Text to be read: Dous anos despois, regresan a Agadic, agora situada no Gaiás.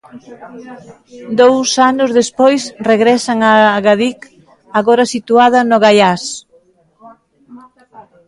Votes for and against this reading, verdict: 0, 2, rejected